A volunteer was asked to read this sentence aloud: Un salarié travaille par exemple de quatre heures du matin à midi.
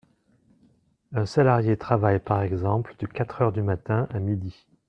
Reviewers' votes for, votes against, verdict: 2, 0, accepted